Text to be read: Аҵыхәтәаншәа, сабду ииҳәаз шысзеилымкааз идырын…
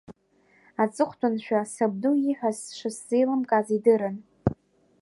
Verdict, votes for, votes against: rejected, 1, 2